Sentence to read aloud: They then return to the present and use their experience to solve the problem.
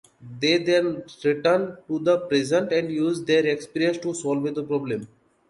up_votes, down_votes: 2, 1